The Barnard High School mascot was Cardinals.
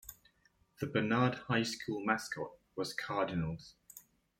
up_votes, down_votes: 2, 0